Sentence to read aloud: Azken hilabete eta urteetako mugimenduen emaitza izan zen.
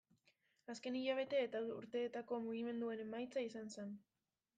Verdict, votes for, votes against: rejected, 1, 2